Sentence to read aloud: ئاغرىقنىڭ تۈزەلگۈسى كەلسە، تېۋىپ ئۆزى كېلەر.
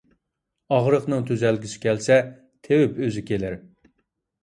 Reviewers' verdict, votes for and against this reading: accepted, 2, 0